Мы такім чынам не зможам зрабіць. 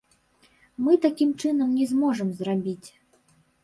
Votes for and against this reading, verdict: 1, 3, rejected